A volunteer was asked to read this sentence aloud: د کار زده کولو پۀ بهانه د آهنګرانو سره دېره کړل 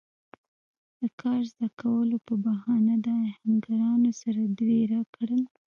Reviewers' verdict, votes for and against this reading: rejected, 1, 2